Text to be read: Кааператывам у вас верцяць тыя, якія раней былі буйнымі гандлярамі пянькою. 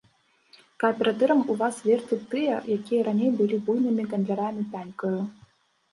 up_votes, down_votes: 0, 2